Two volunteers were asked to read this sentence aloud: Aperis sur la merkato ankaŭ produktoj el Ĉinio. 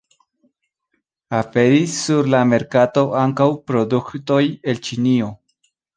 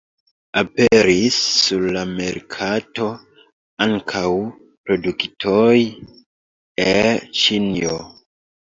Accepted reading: first